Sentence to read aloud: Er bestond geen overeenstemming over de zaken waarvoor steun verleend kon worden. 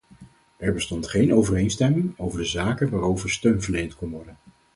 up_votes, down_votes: 2, 4